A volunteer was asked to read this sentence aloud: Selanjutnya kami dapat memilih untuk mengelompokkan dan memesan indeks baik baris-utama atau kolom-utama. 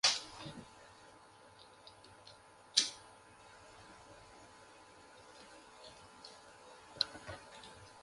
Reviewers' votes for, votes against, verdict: 0, 2, rejected